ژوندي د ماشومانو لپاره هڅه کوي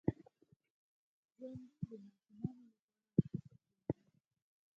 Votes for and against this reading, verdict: 2, 4, rejected